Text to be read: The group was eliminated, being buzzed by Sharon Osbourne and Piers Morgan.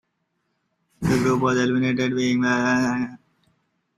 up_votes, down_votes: 0, 2